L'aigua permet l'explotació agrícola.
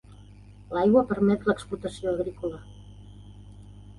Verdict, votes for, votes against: accepted, 3, 0